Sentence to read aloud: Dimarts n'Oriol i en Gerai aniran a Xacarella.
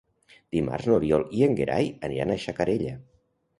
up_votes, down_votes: 1, 2